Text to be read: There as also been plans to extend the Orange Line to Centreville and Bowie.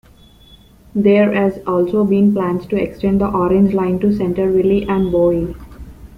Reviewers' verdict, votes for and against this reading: accepted, 2, 1